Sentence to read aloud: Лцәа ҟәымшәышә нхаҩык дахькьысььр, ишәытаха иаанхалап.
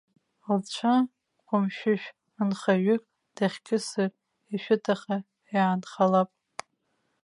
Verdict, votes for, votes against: rejected, 1, 2